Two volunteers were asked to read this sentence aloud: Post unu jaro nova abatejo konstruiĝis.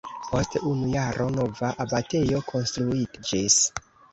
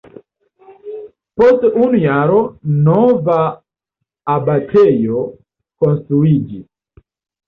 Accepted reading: second